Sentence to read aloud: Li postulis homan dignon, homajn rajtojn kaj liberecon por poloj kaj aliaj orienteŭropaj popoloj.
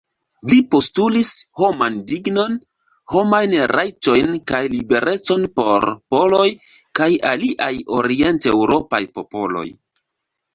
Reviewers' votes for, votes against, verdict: 2, 0, accepted